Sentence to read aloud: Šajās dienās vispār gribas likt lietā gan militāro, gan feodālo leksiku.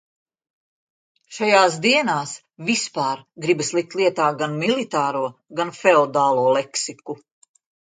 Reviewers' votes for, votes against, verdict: 2, 0, accepted